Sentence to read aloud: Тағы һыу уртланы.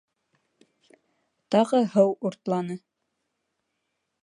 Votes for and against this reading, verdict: 2, 0, accepted